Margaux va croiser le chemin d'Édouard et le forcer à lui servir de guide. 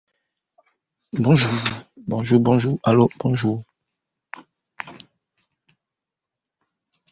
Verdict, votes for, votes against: rejected, 1, 2